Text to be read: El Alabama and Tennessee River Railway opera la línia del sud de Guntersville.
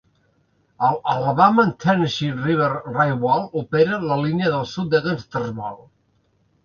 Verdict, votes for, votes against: rejected, 1, 2